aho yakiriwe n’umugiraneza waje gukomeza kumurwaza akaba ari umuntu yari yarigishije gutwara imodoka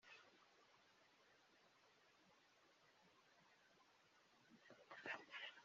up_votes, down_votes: 0, 2